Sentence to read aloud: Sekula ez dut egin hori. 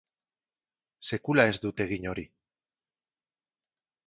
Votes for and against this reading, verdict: 2, 0, accepted